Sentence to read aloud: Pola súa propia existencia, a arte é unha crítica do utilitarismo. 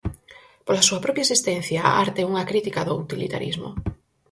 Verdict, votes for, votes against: accepted, 4, 0